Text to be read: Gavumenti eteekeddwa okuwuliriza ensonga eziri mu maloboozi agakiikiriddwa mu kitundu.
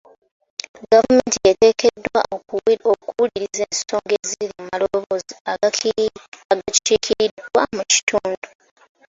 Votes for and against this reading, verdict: 0, 2, rejected